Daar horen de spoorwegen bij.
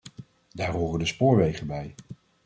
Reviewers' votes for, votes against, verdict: 2, 0, accepted